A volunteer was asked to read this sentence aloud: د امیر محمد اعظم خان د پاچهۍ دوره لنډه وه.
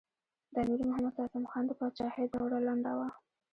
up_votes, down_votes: 1, 2